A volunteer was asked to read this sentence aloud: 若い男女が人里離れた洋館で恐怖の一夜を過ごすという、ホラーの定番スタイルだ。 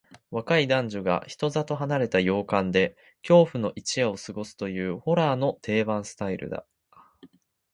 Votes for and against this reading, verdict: 2, 0, accepted